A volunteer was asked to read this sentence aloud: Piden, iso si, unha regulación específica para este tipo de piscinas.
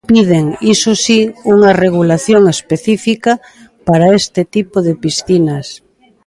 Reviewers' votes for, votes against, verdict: 2, 0, accepted